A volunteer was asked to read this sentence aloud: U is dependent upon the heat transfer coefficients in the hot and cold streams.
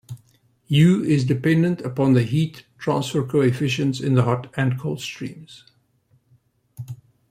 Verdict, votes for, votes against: rejected, 1, 2